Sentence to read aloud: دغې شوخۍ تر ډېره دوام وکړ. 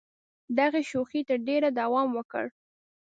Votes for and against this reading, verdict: 2, 0, accepted